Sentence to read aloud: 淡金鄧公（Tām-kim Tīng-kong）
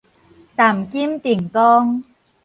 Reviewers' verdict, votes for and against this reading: rejected, 2, 2